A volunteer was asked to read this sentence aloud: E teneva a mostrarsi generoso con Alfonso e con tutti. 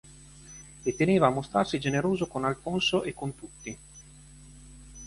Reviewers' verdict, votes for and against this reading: accepted, 3, 1